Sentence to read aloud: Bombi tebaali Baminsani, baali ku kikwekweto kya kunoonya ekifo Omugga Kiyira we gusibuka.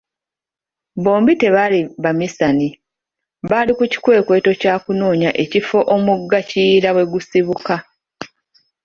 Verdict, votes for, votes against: rejected, 1, 2